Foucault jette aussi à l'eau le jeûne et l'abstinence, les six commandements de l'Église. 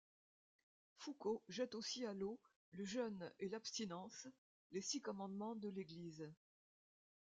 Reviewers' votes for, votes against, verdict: 2, 1, accepted